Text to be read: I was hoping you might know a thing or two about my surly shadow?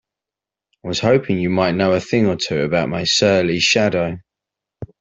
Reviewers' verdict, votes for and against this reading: accepted, 2, 1